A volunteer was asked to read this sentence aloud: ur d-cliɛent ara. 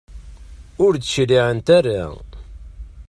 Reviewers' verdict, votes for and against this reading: accepted, 2, 0